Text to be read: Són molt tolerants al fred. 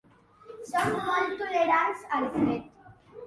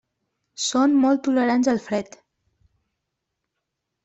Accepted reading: second